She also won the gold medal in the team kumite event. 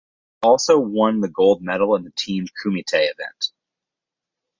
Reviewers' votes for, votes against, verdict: 0, 4, rejected